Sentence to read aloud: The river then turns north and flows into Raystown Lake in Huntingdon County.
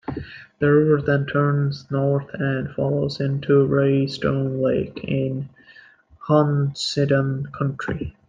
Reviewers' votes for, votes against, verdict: 0, 2, rejected